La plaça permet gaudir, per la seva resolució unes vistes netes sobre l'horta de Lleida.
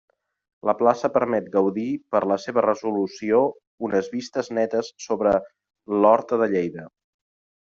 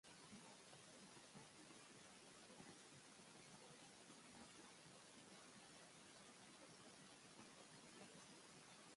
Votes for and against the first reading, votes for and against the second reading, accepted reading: 3, 0, 1, 2, first